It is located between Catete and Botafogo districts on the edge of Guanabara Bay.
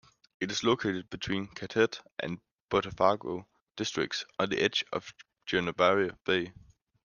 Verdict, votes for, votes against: rejected, 0, 2